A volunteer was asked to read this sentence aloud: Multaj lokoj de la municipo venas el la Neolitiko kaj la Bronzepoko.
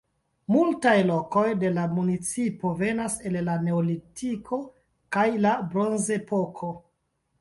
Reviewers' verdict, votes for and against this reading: rejected, 1, 2